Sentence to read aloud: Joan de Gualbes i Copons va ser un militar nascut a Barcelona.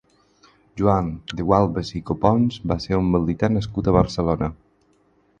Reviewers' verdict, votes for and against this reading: rejected, 2, 4